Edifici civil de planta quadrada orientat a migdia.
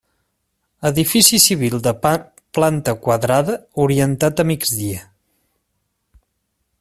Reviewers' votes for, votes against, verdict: 1, 2, rejected